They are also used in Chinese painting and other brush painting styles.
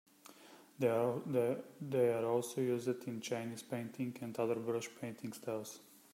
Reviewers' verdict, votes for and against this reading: rejected, 1, 2